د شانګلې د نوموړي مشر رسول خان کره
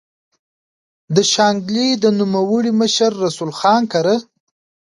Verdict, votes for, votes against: accepted, 2, 0